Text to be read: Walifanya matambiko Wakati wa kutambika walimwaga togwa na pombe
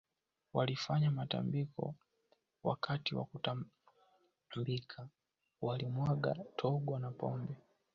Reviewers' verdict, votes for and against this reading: rejected, 0, 2